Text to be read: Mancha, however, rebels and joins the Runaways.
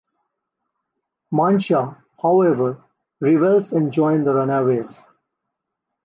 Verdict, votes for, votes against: rejected, 0, 2